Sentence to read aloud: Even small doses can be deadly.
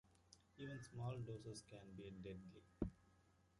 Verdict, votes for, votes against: accepted, 2, 0